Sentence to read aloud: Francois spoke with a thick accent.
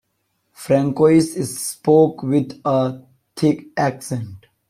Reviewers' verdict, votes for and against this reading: rejected, 0, 2